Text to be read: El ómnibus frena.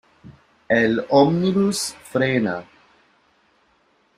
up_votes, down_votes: 2, 1